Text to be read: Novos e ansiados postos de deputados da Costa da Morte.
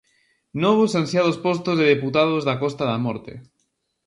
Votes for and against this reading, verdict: 2, 0, accepted